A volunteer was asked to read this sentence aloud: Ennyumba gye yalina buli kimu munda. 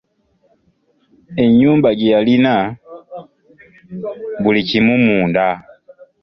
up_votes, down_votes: 2, 1